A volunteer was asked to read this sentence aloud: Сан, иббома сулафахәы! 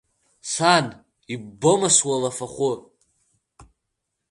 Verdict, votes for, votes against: accepted, 2, 1